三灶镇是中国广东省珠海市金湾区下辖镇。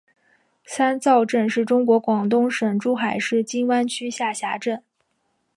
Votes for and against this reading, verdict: 2, 0, accepted